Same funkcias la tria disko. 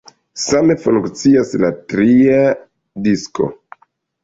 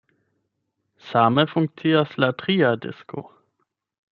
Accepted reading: second